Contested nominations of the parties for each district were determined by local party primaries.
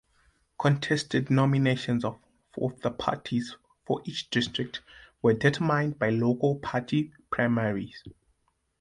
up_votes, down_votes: 0, 2